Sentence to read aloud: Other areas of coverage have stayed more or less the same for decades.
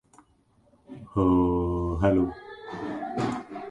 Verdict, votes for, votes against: rejected, 0, 2